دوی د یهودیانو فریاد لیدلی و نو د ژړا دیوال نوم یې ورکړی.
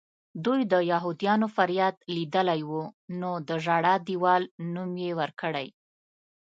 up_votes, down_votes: 2, 0